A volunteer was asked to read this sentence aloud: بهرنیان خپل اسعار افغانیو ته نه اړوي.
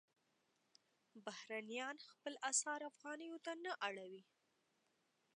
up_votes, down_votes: 2, 0